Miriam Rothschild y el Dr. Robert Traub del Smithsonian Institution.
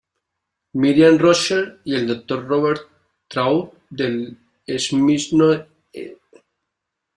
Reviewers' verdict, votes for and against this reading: rejected, 0, 2